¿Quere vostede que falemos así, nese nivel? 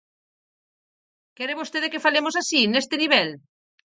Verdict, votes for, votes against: rejected, 0, 4